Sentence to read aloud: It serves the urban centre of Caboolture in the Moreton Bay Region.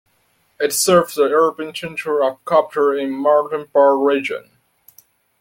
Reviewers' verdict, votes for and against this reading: rejected, 0, 2